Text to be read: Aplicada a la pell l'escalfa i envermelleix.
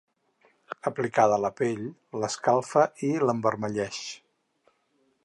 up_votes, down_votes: 2, 4